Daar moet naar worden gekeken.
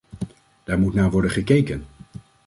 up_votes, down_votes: 2, 0